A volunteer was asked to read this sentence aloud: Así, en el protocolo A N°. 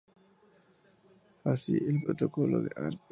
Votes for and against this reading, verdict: 0, 2, rejected